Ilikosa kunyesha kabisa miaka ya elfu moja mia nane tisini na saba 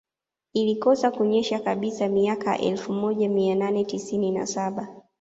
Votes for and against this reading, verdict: 2, 1, accepted